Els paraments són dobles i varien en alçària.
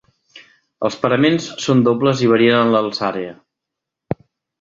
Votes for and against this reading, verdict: 1, 2, rejected